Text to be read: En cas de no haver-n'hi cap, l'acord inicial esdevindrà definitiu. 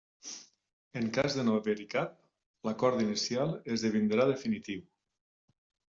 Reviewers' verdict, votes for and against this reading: rejected, 1, 2